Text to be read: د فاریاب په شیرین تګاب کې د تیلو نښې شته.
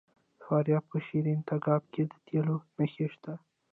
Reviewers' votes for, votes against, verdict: 0, 2, rejected